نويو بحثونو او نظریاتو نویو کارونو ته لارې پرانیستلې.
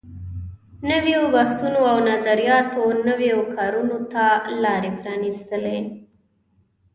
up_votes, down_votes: 2, 0